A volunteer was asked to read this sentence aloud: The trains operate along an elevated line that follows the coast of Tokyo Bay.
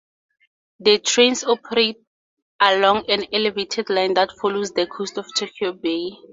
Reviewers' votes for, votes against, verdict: 4, 0, accepted